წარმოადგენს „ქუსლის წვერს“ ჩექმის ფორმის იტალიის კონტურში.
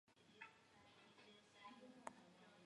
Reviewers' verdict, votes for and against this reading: accepted, 2, 1